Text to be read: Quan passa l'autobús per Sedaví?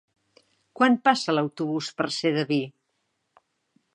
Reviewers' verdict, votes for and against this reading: accepted, 2, 0